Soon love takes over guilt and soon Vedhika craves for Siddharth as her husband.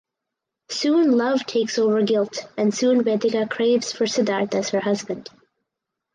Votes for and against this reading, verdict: 4, 0, accepted